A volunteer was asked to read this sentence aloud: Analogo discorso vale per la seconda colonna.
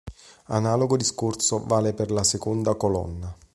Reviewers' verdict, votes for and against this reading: accepted, 2, 0